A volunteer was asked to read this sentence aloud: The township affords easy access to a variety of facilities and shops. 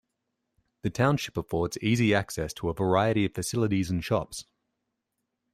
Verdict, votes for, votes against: accepted, 2, 0